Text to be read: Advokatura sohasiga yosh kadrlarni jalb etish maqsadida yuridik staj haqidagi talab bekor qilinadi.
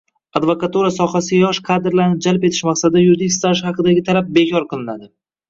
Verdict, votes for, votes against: rejected, 1, 2